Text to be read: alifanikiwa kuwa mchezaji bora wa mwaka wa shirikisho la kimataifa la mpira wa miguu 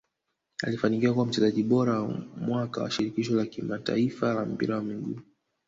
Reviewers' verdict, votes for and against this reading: rejected, 0, 2